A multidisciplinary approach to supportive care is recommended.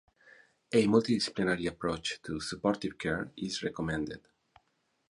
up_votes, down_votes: 4, 0